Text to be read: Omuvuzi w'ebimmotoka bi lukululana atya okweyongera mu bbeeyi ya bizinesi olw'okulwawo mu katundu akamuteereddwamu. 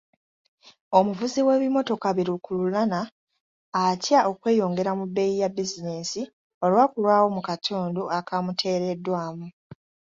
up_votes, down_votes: 2, 0